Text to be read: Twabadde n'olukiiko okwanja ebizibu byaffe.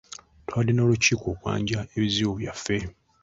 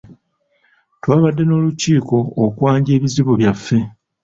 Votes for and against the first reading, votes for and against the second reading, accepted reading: 1, 2, 2, 0, second